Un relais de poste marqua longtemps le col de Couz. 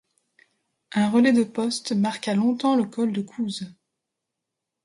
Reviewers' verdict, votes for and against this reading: accepted, 2, 0